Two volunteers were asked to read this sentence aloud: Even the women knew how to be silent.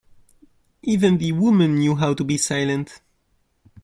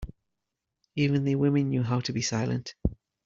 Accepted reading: first